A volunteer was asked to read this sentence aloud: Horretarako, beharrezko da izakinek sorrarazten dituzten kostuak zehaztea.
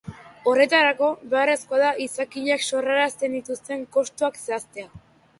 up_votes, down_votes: 2, 0